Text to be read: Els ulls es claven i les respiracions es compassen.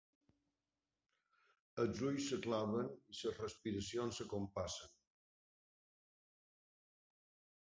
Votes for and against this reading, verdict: 0, 3, rejected